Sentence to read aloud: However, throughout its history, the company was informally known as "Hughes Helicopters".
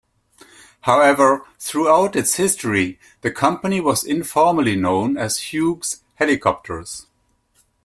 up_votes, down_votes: 1, 2